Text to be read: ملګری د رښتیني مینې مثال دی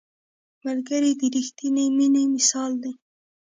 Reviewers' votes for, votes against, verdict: 0, 2, rejected